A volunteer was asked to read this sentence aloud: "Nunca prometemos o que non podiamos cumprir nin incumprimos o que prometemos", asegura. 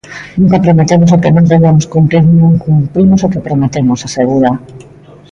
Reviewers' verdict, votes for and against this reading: rejected, 1, 2